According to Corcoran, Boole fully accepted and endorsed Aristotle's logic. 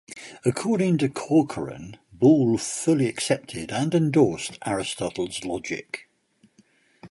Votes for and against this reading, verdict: 1, 2, rejected